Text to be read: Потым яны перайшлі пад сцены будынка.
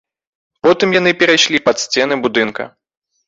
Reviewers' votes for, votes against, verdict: 2, 0, accepted